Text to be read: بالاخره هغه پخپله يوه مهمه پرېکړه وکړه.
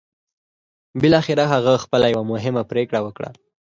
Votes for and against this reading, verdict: 4, 0, accepted